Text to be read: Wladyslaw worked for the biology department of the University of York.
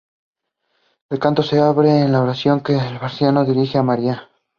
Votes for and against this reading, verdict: 1, 2, rejected